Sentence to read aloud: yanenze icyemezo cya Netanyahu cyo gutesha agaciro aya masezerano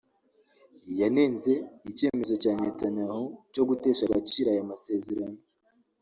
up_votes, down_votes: 2, 1